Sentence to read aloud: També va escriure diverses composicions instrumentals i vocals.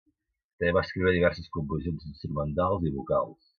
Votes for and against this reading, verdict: 1, 2, rejected